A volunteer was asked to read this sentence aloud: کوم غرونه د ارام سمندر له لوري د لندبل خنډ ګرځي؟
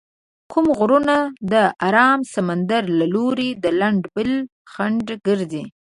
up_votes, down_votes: 1, 3